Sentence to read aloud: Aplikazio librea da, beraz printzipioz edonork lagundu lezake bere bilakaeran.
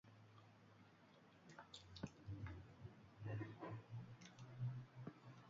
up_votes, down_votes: 0, 2